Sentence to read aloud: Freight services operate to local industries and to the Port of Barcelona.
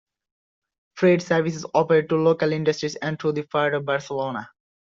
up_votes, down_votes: 2, 0